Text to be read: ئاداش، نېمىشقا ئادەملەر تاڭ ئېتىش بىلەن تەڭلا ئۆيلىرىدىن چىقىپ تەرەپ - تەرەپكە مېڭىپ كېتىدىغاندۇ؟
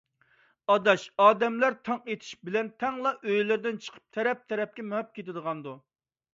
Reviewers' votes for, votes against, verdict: 1, 2, rejected